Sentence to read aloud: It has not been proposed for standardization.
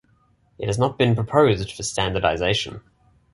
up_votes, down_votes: 2, 0